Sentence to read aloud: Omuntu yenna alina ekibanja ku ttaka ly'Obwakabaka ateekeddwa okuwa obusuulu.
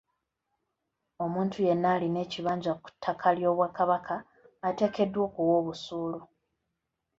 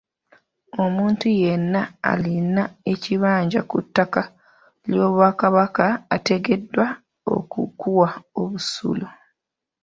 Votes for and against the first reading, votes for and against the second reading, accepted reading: 2, 0, 0, 2, first